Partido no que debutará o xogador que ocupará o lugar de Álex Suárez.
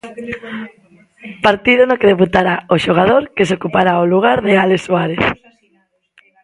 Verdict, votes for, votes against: rejected, 0, 2